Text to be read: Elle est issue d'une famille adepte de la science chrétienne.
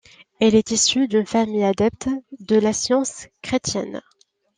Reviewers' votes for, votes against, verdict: 2, 0, accepted